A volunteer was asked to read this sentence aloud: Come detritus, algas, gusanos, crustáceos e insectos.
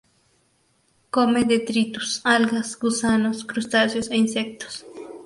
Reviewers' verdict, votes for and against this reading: accepted, 2, 0